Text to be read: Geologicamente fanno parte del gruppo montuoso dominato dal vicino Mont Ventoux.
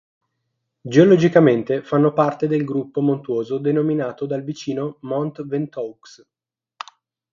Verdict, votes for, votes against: rejected, 3, 6